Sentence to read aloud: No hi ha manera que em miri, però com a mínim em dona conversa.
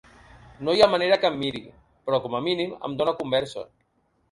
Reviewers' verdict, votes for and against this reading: accepted, 3, 0